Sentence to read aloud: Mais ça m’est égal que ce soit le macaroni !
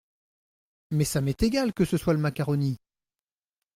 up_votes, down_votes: 2, 0